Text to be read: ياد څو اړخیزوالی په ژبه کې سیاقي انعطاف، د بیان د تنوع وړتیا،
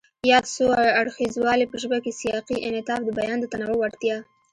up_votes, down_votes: 2, 0